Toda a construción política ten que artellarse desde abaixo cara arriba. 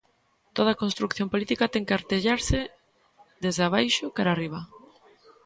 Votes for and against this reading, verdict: 1, 2, rejected